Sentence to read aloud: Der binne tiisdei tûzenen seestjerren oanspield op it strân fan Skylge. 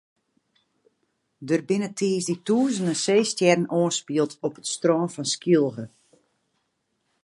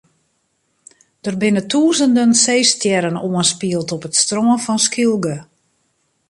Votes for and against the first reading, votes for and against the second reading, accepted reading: 2, 0, 1, 2, first